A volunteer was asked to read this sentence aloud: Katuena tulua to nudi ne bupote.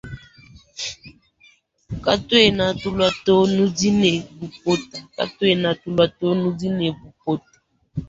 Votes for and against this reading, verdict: 0, 2, rejected